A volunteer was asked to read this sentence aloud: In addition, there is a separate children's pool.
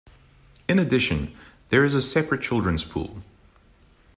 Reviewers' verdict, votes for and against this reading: accepted, 2, 0